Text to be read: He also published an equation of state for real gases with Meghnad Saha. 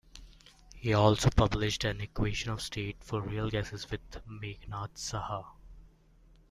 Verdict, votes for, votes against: accepted, 2, 1